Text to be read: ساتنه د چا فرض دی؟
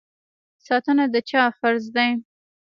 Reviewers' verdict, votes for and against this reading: rejected, 1, 2